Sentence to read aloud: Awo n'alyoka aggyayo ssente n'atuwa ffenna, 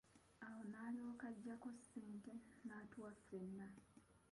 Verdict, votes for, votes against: accepted, 2, 1